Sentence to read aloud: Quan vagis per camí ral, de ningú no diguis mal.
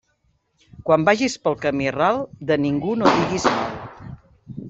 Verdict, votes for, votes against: rejected, 0, 2